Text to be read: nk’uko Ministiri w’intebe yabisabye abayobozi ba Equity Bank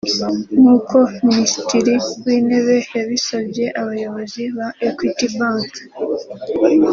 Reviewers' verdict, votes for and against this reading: accepted, 2, 0